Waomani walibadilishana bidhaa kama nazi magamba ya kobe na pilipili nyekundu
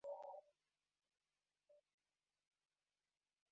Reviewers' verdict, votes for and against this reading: rejected, 0, 2